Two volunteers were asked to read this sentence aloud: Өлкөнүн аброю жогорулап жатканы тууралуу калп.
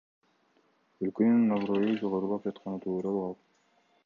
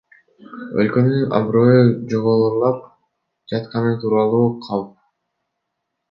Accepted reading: first